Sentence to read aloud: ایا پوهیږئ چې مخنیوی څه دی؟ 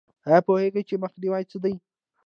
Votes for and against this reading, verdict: 2, 0, accepted